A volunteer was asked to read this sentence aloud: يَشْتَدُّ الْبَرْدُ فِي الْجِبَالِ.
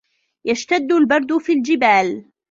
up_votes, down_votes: 2, 0